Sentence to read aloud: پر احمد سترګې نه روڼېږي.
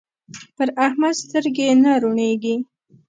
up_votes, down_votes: 2, 0